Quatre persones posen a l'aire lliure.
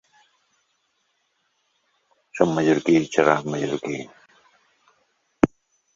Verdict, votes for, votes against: rejected, 0, 3